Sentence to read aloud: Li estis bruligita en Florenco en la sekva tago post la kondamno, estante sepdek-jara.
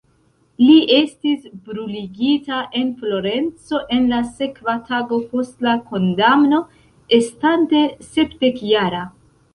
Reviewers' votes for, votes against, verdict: 2, 0, accepted